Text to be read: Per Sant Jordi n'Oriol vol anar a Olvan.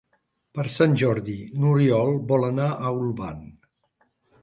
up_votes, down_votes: 3, 0